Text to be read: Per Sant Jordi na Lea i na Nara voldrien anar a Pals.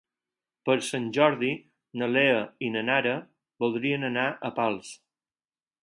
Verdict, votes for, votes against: accepted, 4, 0